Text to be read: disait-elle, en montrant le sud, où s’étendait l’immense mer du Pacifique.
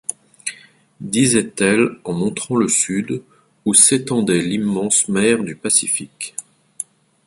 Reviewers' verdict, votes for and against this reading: accepted, 2, 0